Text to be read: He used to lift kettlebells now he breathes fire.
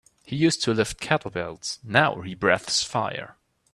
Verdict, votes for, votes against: rejected, 1, 2